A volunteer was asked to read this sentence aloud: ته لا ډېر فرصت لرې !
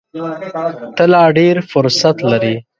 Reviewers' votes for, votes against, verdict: 1, 3, rejected